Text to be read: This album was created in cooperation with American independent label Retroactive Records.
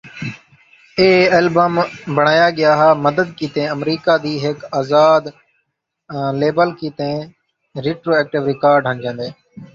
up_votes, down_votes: 1, 2